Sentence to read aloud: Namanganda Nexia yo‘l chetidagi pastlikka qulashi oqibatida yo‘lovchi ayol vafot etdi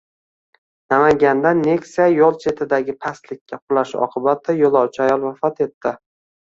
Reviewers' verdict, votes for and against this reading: rejected, 1, 2